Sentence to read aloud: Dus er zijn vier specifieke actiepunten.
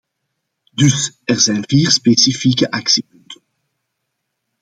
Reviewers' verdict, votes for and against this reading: rejected, 0, 2